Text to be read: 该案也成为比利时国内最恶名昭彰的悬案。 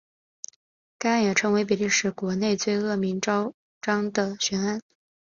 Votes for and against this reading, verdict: 3, 0, accepted